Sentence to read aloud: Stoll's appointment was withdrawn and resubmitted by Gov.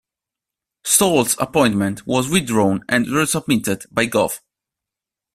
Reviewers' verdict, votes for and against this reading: rejected, 0, 2